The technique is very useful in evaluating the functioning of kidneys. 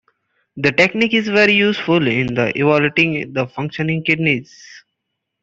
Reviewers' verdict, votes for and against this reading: rejected, 1, 2